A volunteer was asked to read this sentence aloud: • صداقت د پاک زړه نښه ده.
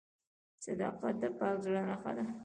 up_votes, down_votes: 1, 2